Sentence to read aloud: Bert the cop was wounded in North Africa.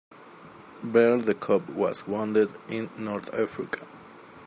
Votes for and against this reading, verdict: 2, 0, accepted